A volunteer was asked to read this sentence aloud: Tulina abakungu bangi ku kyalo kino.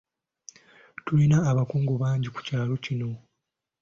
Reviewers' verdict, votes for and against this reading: accepted, 2, 0